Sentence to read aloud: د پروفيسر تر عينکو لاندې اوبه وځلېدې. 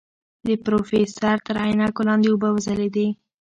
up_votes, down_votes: 0, 2